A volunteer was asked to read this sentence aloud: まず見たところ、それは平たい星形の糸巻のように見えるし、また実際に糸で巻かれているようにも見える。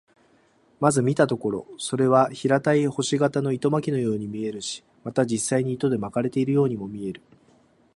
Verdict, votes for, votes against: accepted, 3, 1